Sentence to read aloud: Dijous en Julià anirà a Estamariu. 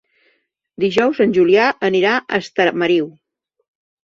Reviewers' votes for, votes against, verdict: 0, 2, rejected